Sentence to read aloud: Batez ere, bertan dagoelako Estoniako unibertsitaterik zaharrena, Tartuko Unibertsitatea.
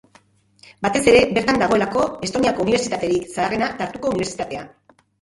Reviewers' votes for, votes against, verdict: 0, 2, rejected